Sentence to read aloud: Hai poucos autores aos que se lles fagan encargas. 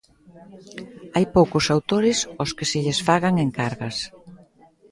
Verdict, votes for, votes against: accepted, 2, 0